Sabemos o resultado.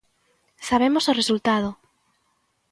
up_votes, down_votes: 2, 0